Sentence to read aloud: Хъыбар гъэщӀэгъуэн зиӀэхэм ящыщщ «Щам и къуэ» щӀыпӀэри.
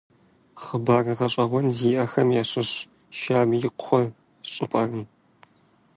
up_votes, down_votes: 1, 2